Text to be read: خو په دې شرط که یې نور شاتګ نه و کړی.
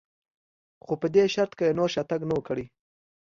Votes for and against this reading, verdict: 2, 0, accepted